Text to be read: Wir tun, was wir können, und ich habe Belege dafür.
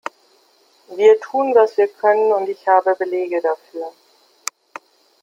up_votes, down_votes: 2, 0